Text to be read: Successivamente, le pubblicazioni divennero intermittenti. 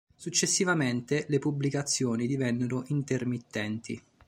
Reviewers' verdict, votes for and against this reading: accepted, 2, 0